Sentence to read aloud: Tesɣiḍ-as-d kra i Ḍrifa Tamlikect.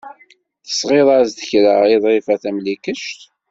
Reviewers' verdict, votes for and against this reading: accepted, 2, 0